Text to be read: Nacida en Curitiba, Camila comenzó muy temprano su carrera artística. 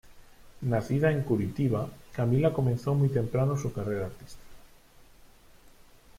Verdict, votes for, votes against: accepted, 2, 0